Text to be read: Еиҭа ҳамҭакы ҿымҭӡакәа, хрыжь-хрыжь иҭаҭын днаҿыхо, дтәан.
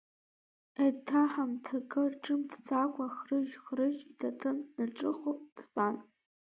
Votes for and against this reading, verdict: 1, 2, rejected